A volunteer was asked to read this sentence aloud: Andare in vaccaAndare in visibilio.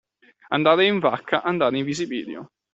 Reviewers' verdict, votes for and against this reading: accepted, 2, 0